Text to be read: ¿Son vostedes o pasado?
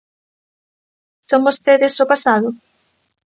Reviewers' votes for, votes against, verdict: 2, 0, accepted